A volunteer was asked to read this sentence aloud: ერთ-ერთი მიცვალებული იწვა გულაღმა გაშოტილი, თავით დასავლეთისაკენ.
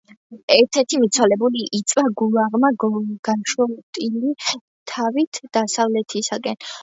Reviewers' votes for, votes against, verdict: 2, 0, accepted